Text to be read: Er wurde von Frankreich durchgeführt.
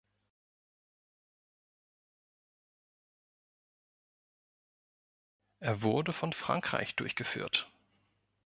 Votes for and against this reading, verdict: 1, 2, rejected